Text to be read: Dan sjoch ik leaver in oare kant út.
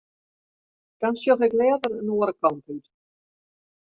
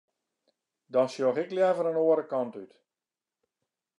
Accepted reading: second